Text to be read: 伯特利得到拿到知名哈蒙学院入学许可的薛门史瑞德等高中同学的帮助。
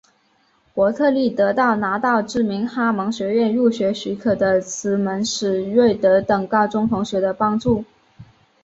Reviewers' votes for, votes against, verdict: 1, 2, rejected